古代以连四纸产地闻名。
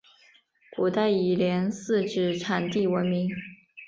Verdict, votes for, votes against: accepted, 2, 0